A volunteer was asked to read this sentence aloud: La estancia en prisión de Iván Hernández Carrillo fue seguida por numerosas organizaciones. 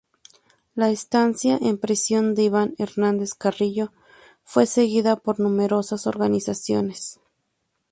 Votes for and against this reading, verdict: 2, 0, accepted